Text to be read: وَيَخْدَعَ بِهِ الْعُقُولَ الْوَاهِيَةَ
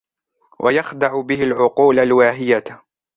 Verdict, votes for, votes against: accepted, 2, 0